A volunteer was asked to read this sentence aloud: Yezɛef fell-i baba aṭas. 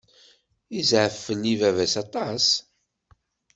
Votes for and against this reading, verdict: 2, 1, accepted